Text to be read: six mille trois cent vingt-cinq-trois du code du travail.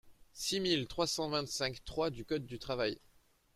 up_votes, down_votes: 2, 0